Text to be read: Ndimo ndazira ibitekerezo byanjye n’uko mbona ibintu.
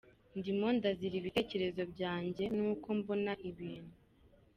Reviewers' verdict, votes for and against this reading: accepted, 2, 1